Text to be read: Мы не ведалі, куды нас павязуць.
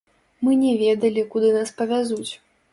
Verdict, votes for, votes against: accepted, 3, 2